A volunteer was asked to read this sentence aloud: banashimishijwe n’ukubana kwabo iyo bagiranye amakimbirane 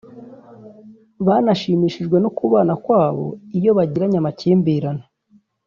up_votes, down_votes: 3, 0